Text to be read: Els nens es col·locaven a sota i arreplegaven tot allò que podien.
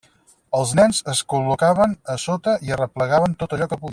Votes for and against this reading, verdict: 4, 2, accepted